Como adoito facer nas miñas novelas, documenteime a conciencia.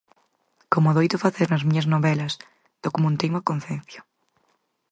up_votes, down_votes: 2, 4